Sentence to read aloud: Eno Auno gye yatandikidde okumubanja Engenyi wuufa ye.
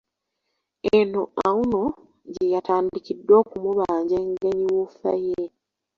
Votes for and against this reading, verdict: 1, 2, rejected